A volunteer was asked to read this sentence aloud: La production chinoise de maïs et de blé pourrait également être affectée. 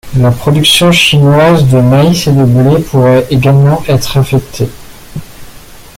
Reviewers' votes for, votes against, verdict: 2, 0, accepted